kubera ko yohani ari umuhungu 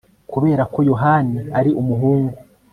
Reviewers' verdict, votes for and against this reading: accepted, 2, 0